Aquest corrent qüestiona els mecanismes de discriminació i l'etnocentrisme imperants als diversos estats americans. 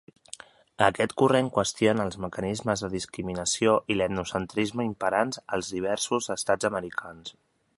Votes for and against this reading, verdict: 2, 0, accepted